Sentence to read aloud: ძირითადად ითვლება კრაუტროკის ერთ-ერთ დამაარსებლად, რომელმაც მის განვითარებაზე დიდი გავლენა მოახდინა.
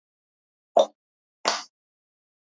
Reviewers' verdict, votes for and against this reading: rejected, 0, 2